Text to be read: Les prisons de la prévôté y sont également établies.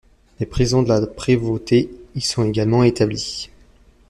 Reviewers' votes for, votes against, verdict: 1, 2, rejected